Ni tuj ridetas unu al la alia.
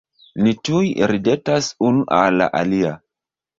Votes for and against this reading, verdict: 1, 2, rejected